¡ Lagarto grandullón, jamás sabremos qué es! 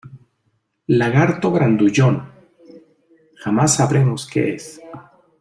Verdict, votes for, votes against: accepted, 2, 0